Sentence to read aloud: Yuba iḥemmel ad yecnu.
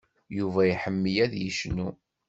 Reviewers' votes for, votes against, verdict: 2, 0, accepted